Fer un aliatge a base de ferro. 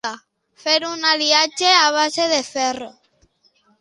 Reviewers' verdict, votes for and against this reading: accepted, 2, 0